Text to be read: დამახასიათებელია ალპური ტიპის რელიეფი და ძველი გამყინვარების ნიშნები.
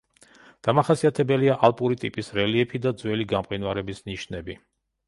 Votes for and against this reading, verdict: 2, 0, accepted